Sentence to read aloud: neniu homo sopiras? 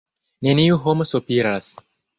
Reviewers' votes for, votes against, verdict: 2, 3, rejected